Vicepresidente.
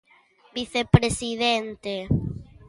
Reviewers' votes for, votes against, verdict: 2, 0, accepted